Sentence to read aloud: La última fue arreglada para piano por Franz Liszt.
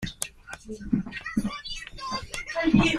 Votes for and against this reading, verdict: 0, 2, rejected